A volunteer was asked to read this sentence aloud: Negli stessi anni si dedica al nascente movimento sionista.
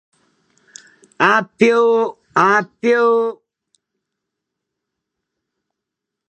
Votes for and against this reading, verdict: 0, 2, rejected